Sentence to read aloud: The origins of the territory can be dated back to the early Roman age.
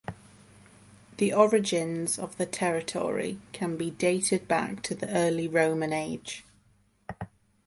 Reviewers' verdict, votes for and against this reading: accepted, 2, 0